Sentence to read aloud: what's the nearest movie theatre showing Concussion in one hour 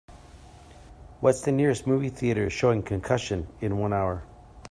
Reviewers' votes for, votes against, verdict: 3, 0, accepted